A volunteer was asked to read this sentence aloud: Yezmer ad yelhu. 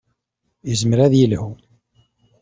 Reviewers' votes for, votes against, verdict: 2, 0, accepted